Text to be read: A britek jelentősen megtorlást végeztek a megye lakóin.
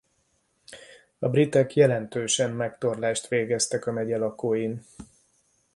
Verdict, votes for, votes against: accepted, 2, 0